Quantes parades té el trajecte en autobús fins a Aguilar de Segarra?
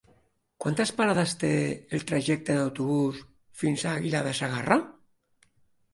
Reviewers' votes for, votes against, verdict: 1, 2, rejected